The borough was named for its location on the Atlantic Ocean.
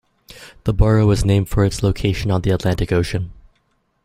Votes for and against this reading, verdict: 2, 0, accepted